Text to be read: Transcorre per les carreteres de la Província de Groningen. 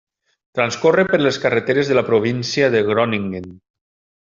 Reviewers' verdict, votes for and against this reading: accepted, 3, 0